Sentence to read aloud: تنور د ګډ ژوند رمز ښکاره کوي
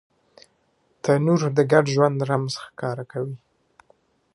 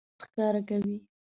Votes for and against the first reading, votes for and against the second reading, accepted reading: 2, 0, 0, 2, first